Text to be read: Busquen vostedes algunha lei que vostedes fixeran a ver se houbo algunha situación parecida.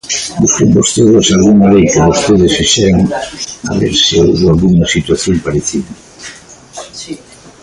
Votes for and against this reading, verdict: 1, 2, rejected